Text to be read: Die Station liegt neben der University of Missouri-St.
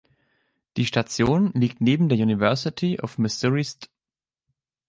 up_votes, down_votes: 1, 3